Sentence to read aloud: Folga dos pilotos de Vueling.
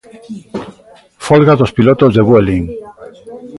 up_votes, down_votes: 1, 2